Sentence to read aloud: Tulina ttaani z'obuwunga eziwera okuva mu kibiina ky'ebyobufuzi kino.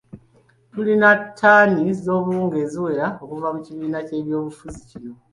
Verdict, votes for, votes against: accepted, 2, 1